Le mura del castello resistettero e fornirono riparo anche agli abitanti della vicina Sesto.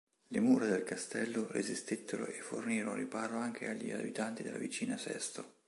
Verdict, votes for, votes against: accepted, 2, 0